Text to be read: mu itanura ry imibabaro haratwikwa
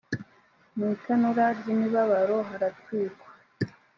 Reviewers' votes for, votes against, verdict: 2, 0, accepted